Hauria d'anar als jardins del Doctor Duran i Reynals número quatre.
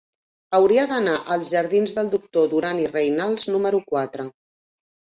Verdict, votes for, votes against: accepted, 3, 0